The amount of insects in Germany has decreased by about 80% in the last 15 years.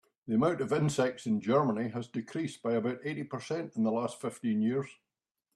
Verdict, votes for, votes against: rejected, 0, 2